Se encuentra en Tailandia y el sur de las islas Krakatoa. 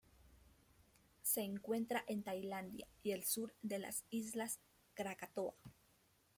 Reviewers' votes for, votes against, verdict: 1, 2, rejected